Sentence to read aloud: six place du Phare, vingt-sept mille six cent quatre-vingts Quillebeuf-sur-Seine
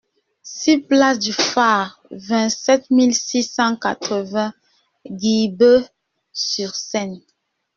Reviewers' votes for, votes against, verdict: 0, 2, rejected